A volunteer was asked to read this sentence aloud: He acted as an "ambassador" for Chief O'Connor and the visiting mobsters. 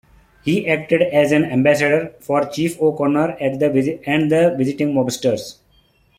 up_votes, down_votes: 0, 2